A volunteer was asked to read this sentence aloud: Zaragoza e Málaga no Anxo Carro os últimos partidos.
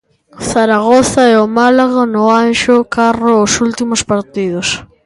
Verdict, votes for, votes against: rejected, 1, 2